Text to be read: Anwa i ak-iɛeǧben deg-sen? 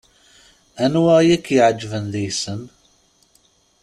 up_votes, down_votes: 2, 0